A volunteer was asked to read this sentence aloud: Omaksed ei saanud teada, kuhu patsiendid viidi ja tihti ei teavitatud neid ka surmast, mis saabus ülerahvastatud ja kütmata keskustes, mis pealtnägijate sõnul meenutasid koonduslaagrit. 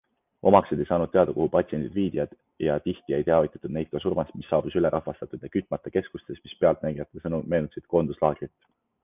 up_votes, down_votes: 2, 0